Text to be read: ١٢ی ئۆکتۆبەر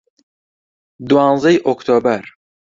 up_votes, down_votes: 0, 2